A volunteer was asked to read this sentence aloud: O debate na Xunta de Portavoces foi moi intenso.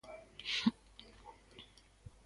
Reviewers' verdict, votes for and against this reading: rejected, 0, 2